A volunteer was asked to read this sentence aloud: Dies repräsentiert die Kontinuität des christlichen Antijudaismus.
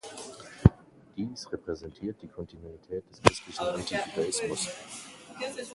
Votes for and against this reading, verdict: 1, 2, rejected